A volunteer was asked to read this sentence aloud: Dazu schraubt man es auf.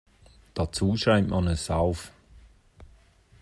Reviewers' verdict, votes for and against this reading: rejected, 1, 2